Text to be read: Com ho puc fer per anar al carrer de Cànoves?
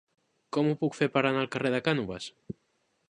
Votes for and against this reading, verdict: 2, 0, accepted